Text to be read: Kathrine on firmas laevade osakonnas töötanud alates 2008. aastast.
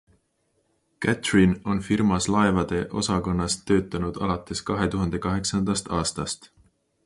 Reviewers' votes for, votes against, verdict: 0, 2, rejected